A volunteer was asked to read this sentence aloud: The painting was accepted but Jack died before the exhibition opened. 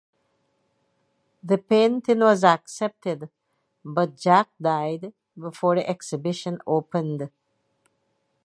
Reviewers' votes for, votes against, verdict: 2, 0, accepted